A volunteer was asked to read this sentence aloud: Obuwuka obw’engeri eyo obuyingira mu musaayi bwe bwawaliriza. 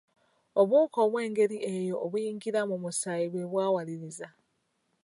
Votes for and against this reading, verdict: 0, 2, rejected